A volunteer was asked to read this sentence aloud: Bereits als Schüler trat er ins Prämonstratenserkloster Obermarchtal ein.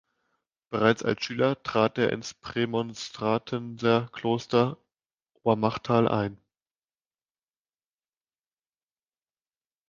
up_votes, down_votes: 0, 2